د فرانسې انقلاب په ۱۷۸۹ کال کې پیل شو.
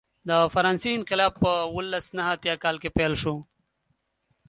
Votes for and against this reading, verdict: 0, 2, rejected